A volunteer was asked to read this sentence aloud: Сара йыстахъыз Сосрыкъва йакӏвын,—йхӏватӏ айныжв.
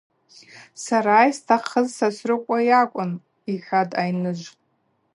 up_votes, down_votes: 4, 0